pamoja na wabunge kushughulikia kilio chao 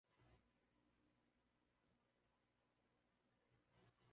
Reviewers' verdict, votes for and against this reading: rejected, 0, 2